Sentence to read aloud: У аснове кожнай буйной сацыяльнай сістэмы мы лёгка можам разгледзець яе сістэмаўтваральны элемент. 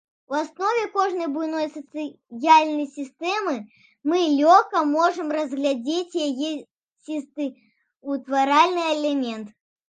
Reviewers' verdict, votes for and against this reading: rejected, 0, 2